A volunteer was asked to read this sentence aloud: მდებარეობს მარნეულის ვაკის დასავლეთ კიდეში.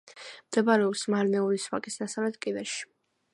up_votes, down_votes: 2, 0